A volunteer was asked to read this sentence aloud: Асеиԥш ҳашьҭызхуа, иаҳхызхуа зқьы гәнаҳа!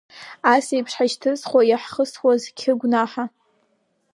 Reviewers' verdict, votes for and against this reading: rejected, 0, 2